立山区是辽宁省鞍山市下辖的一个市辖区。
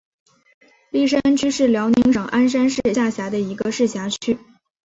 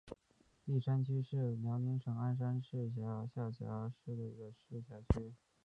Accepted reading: first